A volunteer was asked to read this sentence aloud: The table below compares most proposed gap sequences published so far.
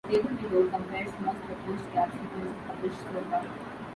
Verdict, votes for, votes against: rejected, 0, 2